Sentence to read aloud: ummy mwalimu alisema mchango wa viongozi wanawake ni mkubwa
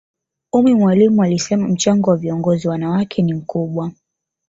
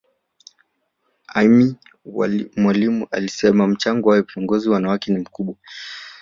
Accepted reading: first